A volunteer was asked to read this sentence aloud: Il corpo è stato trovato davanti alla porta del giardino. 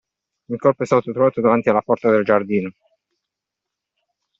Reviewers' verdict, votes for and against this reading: accepted, 2, 0